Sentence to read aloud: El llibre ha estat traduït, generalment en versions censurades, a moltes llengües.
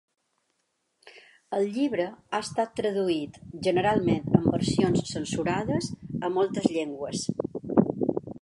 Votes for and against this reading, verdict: 1, 2, rejected